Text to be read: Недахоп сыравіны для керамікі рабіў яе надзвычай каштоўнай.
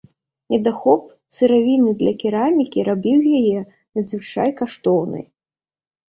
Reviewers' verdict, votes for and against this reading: accepted, 2, 0